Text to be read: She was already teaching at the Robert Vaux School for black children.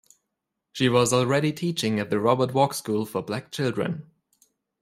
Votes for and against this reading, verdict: 2, 0, accepted